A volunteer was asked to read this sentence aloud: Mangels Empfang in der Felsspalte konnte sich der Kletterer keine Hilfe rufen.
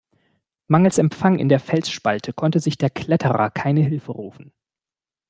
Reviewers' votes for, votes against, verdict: 2, 0, accepted